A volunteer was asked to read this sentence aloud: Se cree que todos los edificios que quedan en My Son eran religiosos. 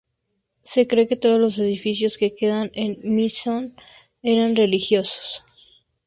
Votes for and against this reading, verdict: 2, 0, accepted